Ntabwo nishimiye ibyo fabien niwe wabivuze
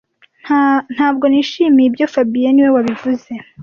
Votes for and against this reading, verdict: 1, 2, rejected